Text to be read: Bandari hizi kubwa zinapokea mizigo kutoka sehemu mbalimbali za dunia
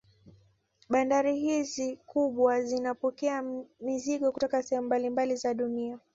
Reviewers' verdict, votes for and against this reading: accepted, 3, 1